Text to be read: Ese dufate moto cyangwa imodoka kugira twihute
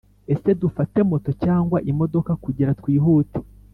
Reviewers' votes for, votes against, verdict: 2, 0, accepted